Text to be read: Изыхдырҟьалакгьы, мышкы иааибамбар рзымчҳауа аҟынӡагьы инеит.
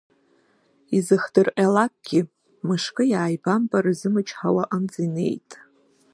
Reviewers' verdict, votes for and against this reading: rejected, 1, 2